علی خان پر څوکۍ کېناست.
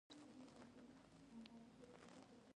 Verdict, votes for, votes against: rejected, 0, 2